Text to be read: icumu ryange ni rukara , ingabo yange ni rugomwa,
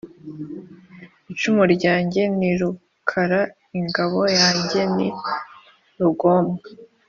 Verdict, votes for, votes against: accepted, 2, 0